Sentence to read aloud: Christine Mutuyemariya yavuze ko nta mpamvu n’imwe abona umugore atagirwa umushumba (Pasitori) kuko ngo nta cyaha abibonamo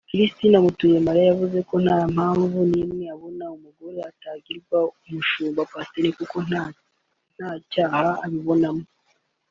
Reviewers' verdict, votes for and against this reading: rejected, 1, 2